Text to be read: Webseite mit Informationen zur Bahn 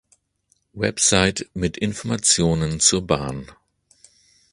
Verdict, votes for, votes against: rejected, 0, 2